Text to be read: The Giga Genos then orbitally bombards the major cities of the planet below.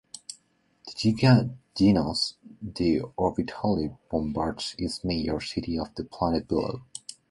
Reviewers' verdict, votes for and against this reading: rejected, 0, 2